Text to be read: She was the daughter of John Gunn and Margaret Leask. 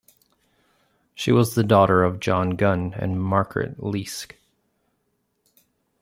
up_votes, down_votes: 2, 0